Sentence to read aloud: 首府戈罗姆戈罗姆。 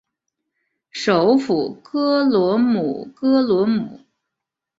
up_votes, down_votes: 3, 2